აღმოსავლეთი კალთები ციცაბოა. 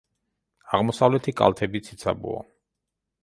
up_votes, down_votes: 2, 0